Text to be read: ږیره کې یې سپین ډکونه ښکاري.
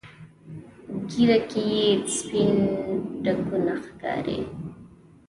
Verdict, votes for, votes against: accepted, 2, 0